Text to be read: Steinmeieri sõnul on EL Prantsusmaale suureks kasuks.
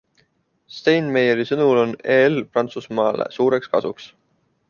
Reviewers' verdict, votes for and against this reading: accepted, 2, 0